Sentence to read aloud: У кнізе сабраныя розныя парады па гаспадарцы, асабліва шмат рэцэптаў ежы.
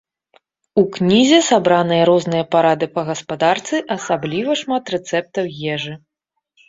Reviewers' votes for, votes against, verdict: 2, 0, accepted